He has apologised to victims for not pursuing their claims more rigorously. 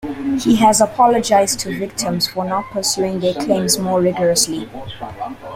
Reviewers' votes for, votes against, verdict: 1, 2, rejected